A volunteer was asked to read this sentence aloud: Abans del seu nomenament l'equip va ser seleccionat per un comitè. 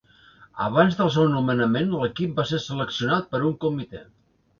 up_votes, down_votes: 2, 0